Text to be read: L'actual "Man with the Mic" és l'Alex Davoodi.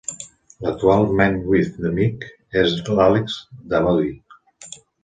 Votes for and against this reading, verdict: 2, 0, accepted